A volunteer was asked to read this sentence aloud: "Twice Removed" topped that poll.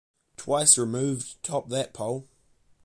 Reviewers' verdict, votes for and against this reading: accepted, 2, 0